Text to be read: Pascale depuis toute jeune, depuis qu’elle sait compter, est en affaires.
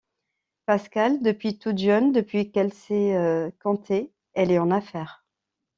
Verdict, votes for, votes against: rejected, 1, 2